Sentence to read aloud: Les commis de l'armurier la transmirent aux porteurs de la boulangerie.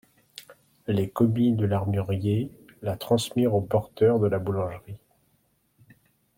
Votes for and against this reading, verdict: 2, 0, accepted